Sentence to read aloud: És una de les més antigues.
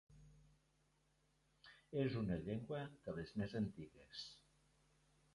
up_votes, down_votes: 0, 3